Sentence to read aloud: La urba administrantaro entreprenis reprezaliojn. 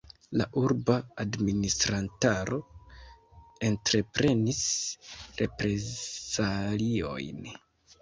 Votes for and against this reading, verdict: 1, 2, rejected